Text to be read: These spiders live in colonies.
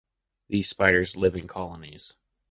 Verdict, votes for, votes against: accepted, 2, 0